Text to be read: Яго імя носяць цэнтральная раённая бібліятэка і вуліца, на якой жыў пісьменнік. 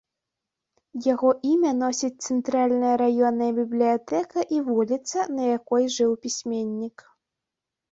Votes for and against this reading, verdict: 0, 2, rejected